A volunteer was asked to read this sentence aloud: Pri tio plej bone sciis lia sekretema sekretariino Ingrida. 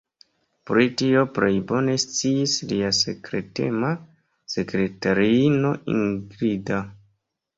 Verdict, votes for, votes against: accepted, 2, 0